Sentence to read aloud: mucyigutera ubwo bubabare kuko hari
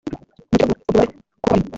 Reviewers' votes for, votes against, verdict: 0, 2, rejected